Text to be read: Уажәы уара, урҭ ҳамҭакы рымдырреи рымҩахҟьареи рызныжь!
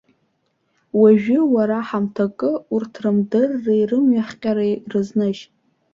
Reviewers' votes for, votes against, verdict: 0, 2, rejected